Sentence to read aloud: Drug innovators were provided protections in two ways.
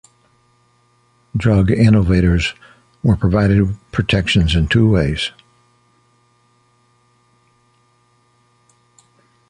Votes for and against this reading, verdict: 2, 0, accepted